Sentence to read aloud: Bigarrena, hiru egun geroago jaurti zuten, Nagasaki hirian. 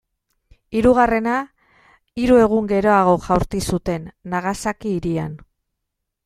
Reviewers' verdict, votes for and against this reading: rejected, 0, 2